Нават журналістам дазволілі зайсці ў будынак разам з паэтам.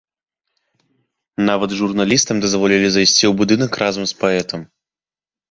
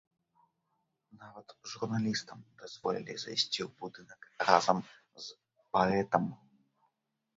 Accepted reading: first